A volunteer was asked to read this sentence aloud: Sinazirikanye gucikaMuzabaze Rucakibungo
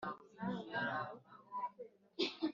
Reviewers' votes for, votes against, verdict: 1, 2, rejected